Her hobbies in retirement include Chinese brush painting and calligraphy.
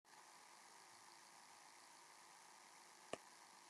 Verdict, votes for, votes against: rejected, 0, 2